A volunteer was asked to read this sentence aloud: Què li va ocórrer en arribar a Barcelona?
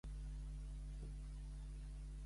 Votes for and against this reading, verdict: 0, 2, rejected